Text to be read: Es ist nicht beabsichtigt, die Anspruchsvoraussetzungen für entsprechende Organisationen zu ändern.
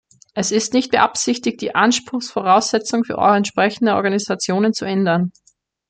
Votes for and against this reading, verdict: 2, 1, accepted